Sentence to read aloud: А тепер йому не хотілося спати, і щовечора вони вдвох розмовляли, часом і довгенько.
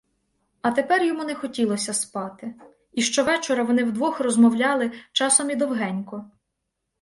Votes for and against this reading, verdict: 2, 0, accepted